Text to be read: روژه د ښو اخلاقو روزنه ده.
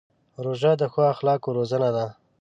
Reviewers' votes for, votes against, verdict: 2, 0, accepted